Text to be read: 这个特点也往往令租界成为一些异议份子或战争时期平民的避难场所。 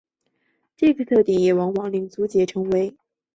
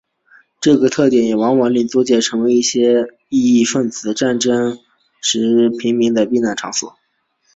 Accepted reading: second